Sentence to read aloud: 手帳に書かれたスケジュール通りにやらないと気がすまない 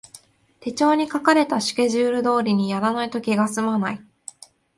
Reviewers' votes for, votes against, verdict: 2, 0, accepted